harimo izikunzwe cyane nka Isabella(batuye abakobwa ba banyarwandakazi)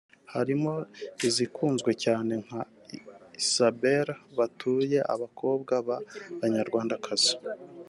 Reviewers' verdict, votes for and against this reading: accepted, 4, 0